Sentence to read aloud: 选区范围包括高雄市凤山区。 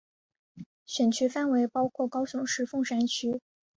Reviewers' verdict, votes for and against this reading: accepted, 3, 0